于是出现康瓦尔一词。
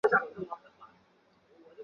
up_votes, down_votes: 0, 3